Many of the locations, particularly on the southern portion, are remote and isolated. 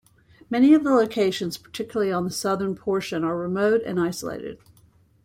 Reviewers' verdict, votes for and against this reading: accepted, 2, 0